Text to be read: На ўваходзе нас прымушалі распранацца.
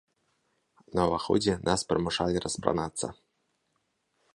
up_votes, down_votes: 3, 0